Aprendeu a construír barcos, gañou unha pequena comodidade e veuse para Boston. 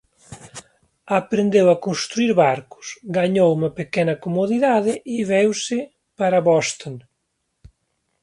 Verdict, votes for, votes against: rejected, 0, 2